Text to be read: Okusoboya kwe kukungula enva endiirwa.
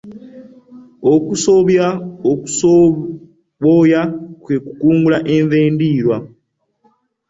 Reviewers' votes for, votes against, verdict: 2, 1, accepted